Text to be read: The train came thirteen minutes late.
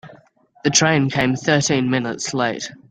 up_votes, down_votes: 2, 0